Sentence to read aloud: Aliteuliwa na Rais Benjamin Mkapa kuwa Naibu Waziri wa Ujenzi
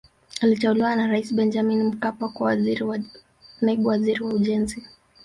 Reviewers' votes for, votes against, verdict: 1, 2, rejected